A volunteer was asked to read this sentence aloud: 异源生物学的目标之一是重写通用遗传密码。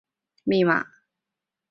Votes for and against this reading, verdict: 0, 2, rejected